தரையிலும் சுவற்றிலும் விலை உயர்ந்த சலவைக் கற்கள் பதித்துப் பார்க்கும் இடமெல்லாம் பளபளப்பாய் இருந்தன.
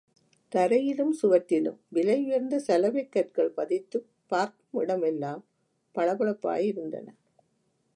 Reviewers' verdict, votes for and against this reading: rejected, 1, 2